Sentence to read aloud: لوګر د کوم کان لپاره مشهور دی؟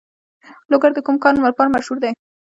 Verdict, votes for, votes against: accepted, 2, 0